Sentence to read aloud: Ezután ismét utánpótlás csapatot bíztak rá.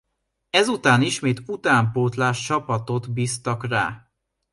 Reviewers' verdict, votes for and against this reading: rejected, 1, 2